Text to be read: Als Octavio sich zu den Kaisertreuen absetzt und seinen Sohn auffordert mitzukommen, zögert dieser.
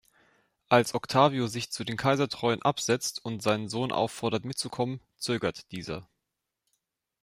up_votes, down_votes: 2, 0